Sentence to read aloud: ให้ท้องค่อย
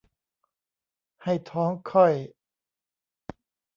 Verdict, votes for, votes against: rejected, 1, 2